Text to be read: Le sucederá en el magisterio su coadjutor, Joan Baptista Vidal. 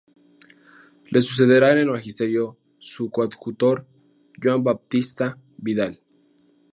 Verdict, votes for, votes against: rejected, 2, 2